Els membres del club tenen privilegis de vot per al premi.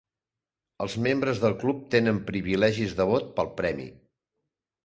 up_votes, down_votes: 1, 3